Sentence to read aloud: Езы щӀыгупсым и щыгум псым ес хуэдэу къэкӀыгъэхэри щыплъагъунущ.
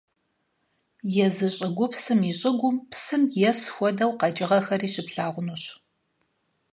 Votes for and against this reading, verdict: 4, 0, accepted